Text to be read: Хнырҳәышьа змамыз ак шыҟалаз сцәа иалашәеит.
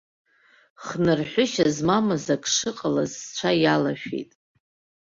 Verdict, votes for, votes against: rejected, 0, 2